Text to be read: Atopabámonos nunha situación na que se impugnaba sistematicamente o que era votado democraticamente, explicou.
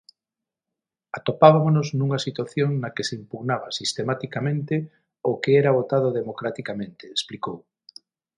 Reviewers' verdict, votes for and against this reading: rejected, 0, 6